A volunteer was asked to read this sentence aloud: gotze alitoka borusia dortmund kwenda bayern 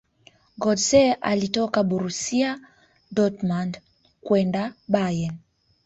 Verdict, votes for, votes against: accepted, 4, 0